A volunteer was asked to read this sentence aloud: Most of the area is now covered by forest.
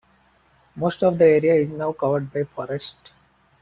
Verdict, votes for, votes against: accepted, 2, 0